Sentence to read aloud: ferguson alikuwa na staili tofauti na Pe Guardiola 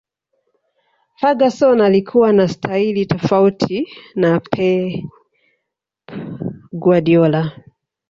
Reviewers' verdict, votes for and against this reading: rejected, 0, 2